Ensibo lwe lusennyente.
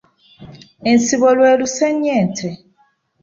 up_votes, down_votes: 2, 0